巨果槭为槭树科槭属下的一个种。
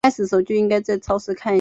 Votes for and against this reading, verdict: 3, 4, rejected